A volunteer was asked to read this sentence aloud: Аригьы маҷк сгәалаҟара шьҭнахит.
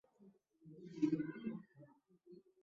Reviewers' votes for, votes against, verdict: 0, 2, rejected